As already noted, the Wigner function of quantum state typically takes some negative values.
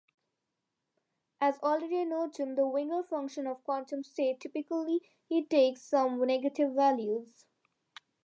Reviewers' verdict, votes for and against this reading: accepted, 2, 0